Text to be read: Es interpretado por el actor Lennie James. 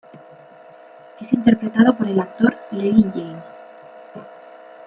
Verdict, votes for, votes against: accepted, 2, 1